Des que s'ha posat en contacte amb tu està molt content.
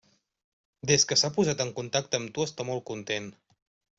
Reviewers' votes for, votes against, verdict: 3, 0, accepted